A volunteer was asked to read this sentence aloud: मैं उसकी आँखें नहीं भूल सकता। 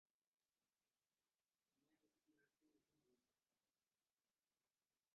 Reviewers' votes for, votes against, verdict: 0, 2, rejected